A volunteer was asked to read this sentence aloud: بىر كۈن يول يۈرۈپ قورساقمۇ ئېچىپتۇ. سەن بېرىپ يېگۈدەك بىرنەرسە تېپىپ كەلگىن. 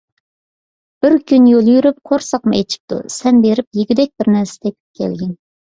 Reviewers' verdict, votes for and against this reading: accepted, 2, 0